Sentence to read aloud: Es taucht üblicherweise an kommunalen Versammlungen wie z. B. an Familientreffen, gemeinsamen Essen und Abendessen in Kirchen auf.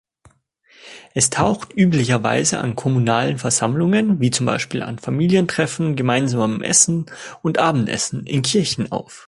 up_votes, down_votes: 1, 2